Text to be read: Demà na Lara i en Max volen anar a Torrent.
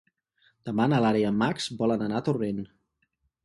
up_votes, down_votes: 4, 0